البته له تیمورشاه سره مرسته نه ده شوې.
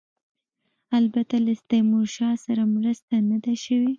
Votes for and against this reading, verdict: 2, 0, accepted